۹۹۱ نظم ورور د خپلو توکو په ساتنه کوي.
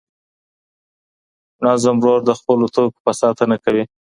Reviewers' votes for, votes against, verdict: 0, 2, rejected